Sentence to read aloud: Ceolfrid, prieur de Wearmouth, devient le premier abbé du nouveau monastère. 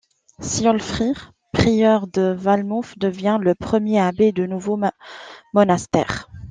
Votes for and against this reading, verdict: 1, 2, rejected